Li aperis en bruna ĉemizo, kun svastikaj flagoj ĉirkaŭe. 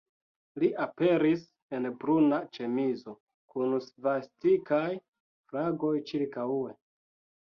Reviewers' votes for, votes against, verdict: 2, 0, accepted